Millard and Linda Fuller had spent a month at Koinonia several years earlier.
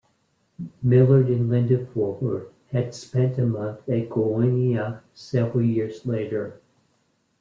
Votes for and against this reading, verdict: 1, 2, rejected